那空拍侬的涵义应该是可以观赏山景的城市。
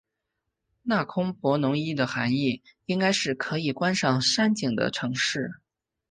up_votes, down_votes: 2, 0